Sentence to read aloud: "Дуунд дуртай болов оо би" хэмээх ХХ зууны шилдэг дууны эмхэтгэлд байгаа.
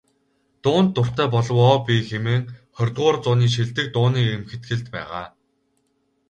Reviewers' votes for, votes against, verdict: 2, 2, rejected